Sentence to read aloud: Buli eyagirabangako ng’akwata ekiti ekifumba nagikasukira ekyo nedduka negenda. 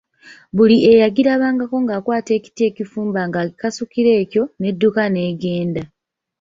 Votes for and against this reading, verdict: 0, 2, rejected